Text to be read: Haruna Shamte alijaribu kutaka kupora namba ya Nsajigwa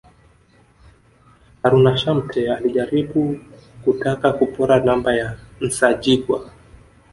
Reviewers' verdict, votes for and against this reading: rejected, 2, 3